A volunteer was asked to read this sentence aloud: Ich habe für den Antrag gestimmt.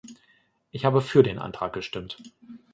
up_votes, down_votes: 2, 0